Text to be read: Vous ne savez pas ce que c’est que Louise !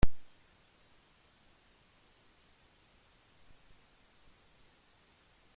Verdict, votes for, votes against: rejected, 0, 2